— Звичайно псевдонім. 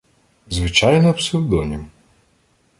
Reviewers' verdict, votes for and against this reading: rejected, 1, 2